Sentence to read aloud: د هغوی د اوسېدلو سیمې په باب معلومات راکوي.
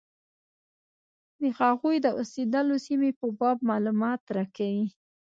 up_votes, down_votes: 2, 0